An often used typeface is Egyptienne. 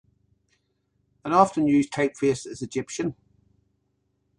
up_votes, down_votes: 1, 2